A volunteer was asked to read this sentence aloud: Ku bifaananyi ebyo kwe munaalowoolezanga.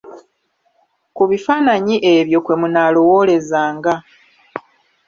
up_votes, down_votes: 2, 0